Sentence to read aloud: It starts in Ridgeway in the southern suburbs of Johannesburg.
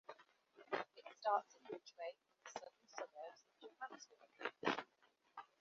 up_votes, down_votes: 0, 2